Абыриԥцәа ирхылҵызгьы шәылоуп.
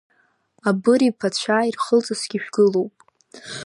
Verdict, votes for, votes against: rejected, 1, 2